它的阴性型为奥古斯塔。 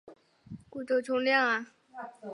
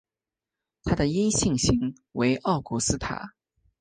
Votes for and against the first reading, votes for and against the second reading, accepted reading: 1, 4, 2, 0, second